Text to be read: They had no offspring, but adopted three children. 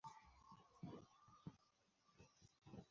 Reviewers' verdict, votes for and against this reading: rejected, 0, 2